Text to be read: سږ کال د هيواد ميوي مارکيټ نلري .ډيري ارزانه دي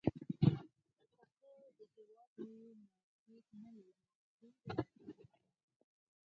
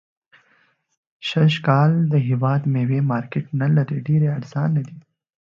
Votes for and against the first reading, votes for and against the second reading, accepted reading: 0, 4, 2, 0, second